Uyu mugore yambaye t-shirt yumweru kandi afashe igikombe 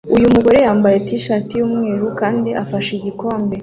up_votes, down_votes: 2, 0